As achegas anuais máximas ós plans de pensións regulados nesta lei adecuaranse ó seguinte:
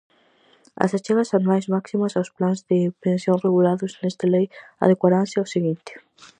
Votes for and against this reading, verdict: 2, 2, rejected